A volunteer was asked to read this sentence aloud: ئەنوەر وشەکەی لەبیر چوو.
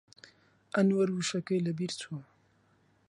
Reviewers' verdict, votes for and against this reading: accepted, 2, 0